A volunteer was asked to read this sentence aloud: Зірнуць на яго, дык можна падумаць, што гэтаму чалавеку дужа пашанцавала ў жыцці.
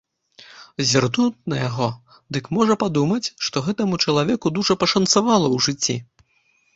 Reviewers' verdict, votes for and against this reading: rejected, 0, 2